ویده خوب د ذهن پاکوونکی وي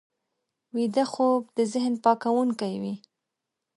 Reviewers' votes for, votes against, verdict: 2, 0, accepted